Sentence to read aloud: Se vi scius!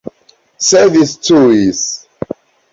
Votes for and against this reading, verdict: 0, 2, rejected